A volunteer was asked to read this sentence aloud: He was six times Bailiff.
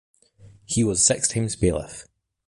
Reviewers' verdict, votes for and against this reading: rejected, 2, 2